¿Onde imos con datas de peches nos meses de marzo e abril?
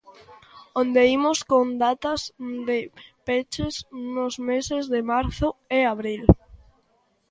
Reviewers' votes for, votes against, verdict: 1, 2, rejected